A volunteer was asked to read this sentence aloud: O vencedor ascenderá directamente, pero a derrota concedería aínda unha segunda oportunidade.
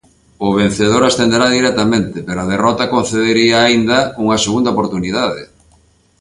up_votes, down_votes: 2, 0